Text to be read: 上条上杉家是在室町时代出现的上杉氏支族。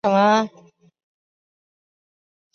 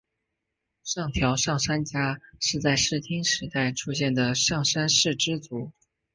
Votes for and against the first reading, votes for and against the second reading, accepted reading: 0, 4, 3, 1, second